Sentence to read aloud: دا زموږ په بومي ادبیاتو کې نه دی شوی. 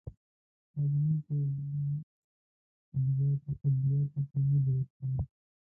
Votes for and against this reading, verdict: 1, 2, rejected